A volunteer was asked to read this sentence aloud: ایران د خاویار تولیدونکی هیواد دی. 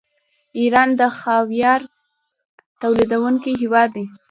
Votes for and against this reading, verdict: 2, 0, accepted